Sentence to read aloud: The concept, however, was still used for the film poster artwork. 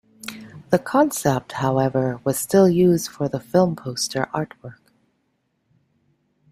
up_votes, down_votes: 2, 0